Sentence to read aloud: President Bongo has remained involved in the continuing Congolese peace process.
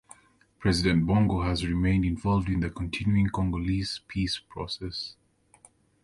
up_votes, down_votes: 2, 1